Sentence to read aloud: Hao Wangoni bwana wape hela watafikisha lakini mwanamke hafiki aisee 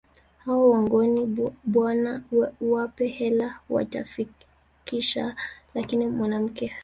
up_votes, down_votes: 0, 2